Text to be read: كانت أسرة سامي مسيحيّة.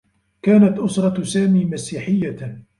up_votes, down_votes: 1, 2